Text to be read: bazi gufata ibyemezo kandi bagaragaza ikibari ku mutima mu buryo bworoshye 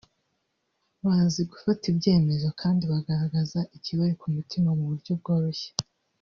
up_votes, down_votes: 2, 0